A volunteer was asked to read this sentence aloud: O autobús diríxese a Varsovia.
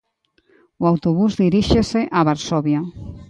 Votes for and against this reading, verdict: 2, 0, accepted